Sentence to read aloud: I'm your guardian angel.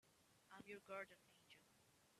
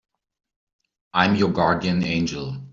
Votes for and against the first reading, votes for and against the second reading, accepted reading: 1, 2, 3, 0, second